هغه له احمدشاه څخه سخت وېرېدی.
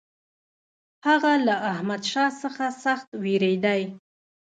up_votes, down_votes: 1, 2